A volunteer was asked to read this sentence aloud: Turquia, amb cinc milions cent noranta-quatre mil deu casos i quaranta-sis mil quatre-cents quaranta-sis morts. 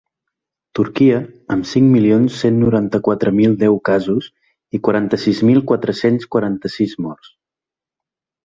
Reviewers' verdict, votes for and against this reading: accepted, 3, 0